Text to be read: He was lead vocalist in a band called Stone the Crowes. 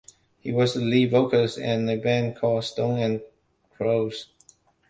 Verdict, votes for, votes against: rejected, 0, 2